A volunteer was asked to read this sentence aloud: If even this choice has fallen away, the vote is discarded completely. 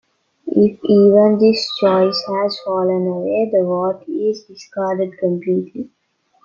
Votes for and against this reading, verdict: 0, 2, rejected